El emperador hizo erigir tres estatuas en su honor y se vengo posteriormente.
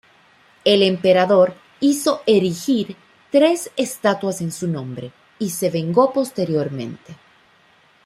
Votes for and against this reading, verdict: 1, 2, rejected